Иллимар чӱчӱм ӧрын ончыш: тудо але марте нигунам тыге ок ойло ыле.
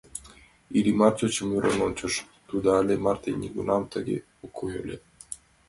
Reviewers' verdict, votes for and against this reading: rejected, 0, 2